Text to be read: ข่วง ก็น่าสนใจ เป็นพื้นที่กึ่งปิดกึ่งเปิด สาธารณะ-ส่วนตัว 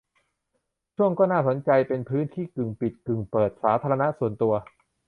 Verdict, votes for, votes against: rejected, 0, 2